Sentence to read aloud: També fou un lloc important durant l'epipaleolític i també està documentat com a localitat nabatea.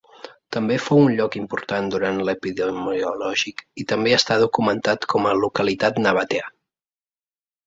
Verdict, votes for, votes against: rejected, 0, 2